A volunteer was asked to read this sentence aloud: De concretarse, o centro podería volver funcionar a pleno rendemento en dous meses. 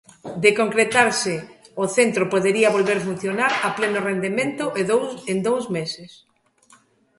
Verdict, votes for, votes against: rejected, 0, 2